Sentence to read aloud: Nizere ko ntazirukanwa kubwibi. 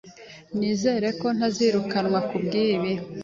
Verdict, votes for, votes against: accepted, 3, 0